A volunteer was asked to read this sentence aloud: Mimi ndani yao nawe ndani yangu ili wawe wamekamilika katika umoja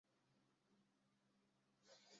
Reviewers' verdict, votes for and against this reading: rejected, 0, 2